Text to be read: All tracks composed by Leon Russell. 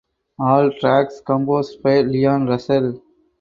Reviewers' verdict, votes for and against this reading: accepted, 2, 0